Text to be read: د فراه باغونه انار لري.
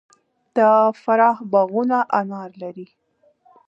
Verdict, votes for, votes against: accepted, 2, 0